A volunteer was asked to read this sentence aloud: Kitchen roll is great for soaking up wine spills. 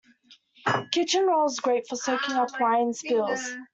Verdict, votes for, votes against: rejected, 1, 2